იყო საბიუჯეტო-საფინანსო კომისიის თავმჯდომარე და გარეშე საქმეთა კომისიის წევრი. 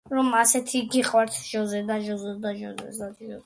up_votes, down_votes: 0, 2